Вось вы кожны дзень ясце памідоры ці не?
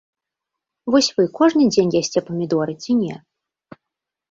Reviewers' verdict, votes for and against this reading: accepted, 2, 0